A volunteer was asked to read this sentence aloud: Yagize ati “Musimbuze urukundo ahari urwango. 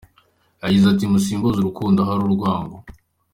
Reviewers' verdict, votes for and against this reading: accepted, 2, 0